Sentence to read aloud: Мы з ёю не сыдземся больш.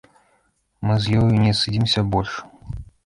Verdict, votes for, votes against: rejected, 0, 2